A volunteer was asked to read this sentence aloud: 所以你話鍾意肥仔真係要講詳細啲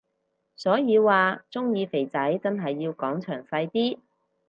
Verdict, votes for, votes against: rejected, 0, 6